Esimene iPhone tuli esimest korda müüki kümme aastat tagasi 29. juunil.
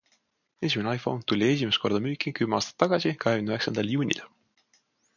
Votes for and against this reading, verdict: 0, 2, rejected